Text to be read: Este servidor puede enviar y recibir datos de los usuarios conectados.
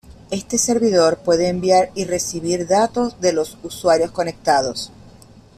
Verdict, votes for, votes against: accepted, 2, 0